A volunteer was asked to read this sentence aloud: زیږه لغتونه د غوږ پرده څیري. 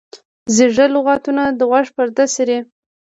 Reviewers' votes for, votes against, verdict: 2, 0, accepted